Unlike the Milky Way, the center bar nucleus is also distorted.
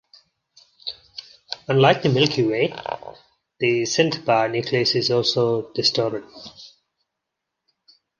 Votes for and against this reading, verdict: 0, 2, rejected